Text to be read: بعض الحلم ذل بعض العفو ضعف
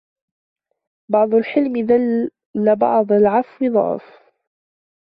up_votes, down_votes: 0, 2